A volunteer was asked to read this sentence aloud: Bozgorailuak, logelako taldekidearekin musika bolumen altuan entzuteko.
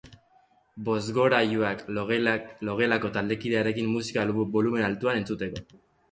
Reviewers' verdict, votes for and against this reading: rejected, 1, 2